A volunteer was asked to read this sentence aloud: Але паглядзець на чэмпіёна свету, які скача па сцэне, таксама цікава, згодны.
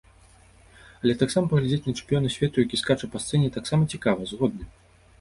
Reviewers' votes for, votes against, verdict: 0, 2, rejected